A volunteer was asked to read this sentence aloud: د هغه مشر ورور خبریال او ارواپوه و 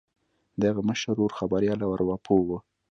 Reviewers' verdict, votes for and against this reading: accepted, 2, 0